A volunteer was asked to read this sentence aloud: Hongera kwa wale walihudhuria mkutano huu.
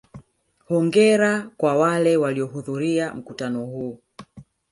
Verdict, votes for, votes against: accepted, 2, 0